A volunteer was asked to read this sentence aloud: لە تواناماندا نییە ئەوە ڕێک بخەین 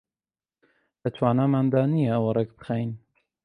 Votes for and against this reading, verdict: 2, 0, accepted